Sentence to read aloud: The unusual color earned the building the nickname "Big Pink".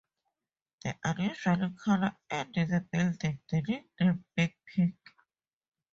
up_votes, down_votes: 2, 2